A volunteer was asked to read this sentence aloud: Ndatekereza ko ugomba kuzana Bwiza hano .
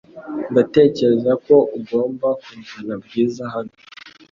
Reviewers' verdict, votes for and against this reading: accepted, 3, 0